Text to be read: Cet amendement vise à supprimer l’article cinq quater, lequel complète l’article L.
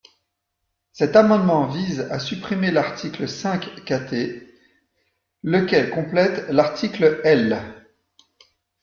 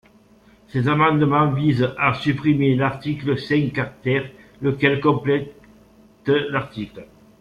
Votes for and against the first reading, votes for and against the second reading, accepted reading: 2, 0, 0, 2, first